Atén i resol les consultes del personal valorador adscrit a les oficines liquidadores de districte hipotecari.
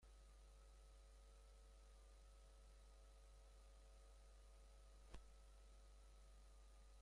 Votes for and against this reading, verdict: 0, 2, rejected